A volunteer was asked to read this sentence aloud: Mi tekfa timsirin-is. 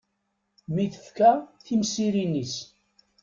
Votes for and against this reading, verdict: 1, 2, rejected